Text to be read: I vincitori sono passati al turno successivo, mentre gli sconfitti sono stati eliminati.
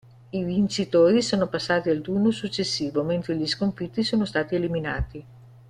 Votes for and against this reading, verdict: 2, 1, accepted